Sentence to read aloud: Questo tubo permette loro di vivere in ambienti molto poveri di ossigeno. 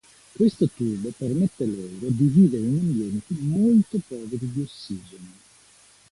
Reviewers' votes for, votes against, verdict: 2, 0, accepted